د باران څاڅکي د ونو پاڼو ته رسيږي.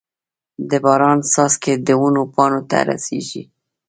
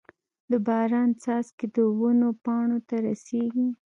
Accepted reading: second